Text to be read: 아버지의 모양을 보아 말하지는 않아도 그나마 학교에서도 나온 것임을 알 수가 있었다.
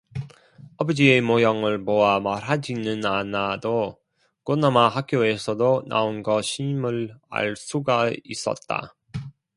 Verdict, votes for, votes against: rejected, 1, 2